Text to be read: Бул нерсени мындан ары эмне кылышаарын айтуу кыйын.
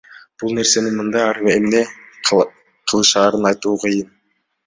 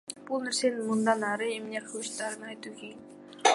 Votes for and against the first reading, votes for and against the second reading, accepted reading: 1, 2, 2, 0, second